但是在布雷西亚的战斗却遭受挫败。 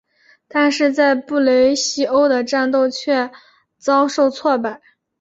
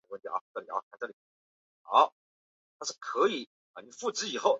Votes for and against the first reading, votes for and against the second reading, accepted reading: 2, 0, 0, 2, first